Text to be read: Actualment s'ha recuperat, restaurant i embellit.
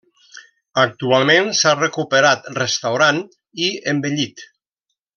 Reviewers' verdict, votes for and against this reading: rejected, 1, 2